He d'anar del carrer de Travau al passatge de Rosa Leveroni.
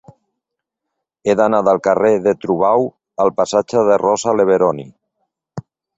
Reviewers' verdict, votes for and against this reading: accepted, 2, 0